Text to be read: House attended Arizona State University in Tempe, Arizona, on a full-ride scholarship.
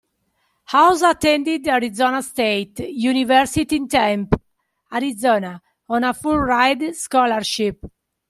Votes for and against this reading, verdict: 1, 2, rejected